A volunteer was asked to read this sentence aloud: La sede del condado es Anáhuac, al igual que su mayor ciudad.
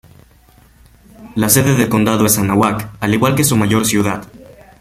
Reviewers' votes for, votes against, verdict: 0, 2, rejected